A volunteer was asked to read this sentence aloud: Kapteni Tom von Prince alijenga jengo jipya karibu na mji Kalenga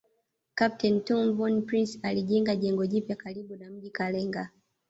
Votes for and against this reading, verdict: 2, 1, accepted